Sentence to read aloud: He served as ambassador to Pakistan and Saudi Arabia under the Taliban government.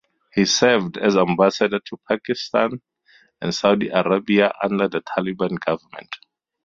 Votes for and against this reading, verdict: 2, 0, accepted